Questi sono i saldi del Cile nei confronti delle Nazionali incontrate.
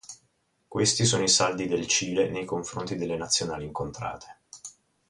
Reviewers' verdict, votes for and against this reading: rejected, 2, 2